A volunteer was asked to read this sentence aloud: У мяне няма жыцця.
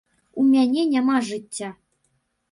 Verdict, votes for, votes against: accepted, 2, 0